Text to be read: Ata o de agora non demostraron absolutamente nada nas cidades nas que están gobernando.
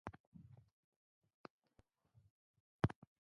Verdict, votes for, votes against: rejected, 0, 2